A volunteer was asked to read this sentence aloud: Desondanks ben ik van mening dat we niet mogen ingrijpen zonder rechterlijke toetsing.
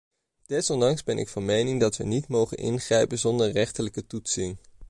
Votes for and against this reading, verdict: 2, 0, accepted